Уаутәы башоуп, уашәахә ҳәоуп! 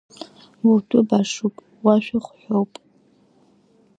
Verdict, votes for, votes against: rejected, 1, 2